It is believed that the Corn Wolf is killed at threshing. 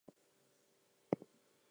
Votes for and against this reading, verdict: 0, 2, rejected